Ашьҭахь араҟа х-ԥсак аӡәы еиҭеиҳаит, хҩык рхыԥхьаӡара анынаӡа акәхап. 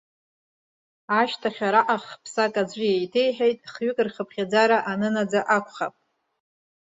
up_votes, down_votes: 0, 2